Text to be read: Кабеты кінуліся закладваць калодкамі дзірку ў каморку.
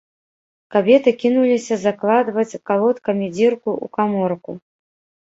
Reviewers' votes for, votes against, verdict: 0, 2, rejected